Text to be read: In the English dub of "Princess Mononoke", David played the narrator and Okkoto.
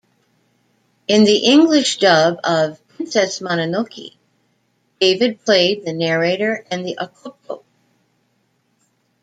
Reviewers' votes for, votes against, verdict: 0, 2, rejected